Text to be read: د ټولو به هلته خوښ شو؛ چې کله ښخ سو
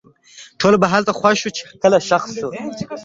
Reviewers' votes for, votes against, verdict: 2, 1, accepted